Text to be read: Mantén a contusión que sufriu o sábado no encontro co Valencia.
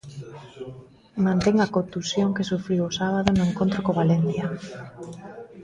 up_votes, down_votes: 1, 2